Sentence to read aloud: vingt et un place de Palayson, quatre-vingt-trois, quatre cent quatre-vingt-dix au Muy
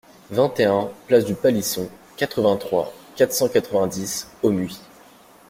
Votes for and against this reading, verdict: 1, 2, rejected